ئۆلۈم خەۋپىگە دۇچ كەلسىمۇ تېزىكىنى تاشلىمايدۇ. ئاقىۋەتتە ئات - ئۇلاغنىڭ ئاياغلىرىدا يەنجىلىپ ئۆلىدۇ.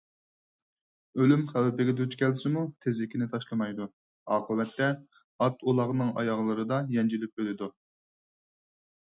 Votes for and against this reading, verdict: 4, 0, accepted